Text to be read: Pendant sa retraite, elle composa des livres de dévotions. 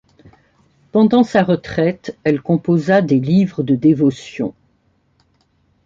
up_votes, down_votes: 2, 0